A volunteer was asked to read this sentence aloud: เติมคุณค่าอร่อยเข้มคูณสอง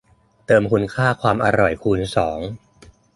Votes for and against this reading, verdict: 0, 2, rejected